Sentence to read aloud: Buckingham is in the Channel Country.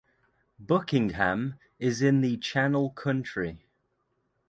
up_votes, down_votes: 2, 0